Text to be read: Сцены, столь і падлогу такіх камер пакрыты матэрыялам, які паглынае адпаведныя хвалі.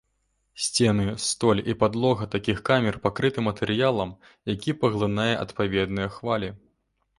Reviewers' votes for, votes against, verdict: 1, 2, rejected